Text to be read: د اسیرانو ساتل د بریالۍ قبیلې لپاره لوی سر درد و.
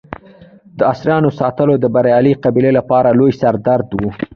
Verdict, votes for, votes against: rejected, 0, 2